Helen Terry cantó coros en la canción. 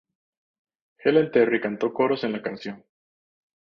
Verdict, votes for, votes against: accepted, 2, 0